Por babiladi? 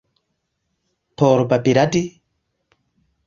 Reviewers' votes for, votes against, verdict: 2, 0, accepted